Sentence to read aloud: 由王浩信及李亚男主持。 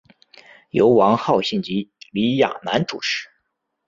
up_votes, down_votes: 2, 0